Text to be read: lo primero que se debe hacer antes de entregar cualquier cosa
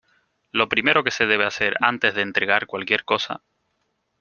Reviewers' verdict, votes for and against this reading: accepted, 2, 0